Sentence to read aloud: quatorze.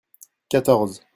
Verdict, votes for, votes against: accepted, 2, 0